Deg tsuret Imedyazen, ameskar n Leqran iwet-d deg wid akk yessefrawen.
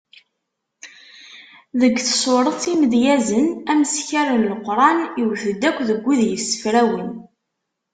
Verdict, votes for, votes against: rejected, 1, 2